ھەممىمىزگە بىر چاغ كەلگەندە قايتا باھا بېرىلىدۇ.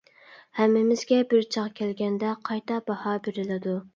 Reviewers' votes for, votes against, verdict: 2, 0, accepted